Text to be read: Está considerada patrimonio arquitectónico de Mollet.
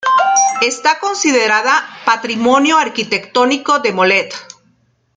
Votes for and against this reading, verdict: 0, 2, rejected